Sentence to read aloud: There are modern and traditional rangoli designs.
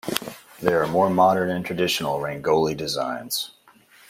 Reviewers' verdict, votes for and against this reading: rejected, 1, 2